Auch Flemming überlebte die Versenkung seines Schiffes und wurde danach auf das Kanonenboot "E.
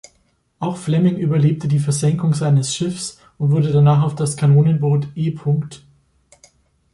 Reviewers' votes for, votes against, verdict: 2, 3, rejected